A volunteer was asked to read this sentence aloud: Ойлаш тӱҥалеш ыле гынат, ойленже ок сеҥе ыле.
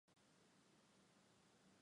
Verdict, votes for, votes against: accepted, 2, 1